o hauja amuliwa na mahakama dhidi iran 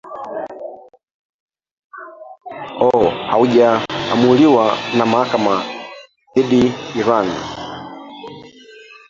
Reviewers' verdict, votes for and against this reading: rejected, 1, 2